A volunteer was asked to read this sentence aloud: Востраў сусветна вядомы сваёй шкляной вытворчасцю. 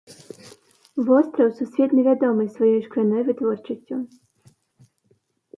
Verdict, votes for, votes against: accepted, 2, 0